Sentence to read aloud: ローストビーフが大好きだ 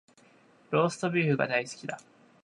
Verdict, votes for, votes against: accepted, 3, 0